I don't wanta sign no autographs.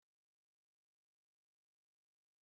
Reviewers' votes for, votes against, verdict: 0, 3, rejected